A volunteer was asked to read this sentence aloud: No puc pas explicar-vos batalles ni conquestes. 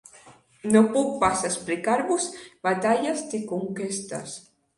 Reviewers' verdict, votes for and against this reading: accepted, 2, 0